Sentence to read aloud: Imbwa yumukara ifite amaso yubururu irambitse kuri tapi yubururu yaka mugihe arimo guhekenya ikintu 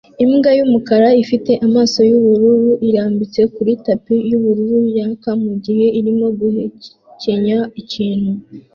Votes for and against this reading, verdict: 2, 0, accepted